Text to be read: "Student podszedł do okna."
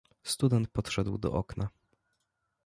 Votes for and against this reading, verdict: 2, 0, accepted